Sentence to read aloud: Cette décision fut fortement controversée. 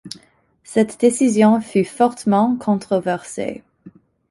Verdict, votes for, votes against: accepted, 2, 0